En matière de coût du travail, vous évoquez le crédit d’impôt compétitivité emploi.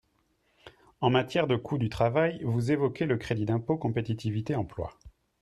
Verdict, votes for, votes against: accepted, 3, 0